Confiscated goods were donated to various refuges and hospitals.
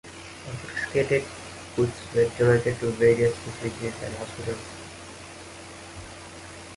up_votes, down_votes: 1, 2